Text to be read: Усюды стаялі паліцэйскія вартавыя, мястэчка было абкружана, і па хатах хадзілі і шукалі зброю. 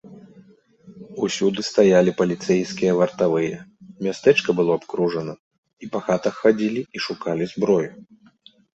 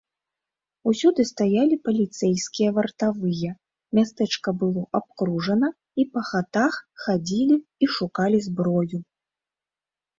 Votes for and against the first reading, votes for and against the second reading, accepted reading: 2, 0, 1, 2, first